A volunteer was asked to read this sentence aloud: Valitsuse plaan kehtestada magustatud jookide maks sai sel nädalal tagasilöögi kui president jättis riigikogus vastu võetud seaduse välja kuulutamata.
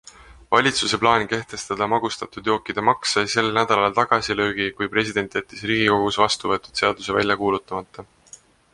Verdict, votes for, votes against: accepted, 2, 0